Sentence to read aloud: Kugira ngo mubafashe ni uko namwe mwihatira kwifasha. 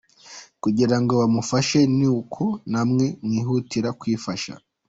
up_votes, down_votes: 0, 2